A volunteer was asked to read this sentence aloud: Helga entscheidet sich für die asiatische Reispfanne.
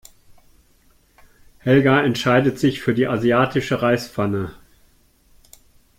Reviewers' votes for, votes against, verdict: 2, 0, accepted